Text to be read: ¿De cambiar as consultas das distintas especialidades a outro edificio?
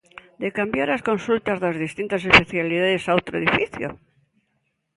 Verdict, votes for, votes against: accepted, 2, 0